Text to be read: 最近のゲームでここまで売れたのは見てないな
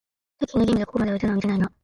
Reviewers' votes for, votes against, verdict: 0, 2, rejected